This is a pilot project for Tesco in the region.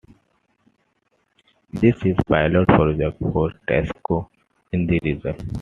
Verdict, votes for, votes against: accepted, 2, 1